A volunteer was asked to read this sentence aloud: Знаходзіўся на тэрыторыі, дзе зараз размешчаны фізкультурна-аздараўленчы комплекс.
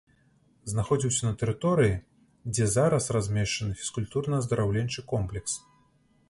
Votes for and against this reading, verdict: 2, 0, accepted